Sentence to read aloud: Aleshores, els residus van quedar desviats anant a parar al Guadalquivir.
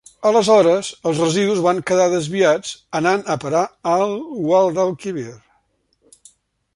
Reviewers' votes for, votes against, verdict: 2, 0, accepted